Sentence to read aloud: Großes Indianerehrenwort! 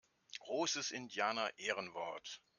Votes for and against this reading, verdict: 2, 0, accepted